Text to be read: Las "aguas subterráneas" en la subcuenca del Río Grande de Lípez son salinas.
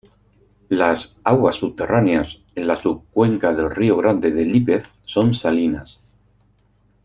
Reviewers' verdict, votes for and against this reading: accepted, 4, 0